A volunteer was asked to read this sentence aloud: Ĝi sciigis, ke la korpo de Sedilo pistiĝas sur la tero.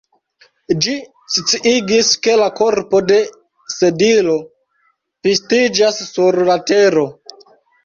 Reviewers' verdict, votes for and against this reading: accepted, 2, 0